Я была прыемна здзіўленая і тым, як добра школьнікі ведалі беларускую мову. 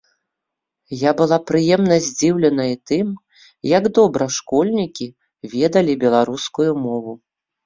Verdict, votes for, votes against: rejected, 0, 2